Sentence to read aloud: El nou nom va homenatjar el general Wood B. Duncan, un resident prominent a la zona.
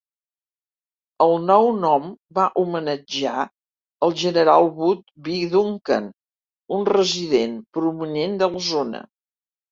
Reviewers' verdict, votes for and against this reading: rejected, 1, 2